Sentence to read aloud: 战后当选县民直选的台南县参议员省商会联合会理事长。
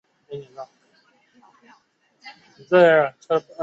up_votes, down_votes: 1, 2